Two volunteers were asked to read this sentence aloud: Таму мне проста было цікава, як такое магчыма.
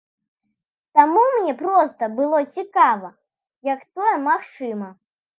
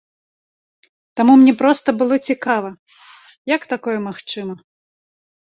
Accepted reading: second